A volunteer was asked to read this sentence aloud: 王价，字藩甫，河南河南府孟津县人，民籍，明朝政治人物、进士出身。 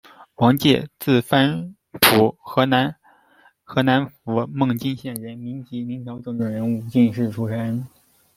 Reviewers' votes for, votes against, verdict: 3, 0, accepted